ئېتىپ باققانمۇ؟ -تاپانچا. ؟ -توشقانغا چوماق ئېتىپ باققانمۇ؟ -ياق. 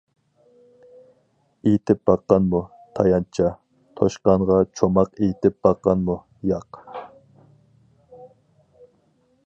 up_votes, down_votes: 0, 2